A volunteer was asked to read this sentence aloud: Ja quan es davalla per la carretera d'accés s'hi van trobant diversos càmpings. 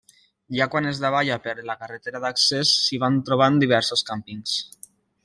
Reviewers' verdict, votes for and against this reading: rejected, 1, 2